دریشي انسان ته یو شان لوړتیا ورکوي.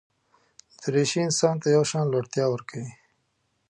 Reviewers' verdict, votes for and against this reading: accepted, 2, 0